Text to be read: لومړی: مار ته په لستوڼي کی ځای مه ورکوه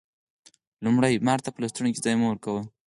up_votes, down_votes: 4, 0